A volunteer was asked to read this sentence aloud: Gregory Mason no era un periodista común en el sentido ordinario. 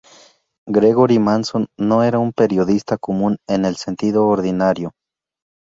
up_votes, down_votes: 4, 0